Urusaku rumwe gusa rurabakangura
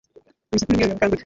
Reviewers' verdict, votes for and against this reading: rejected, 1, 2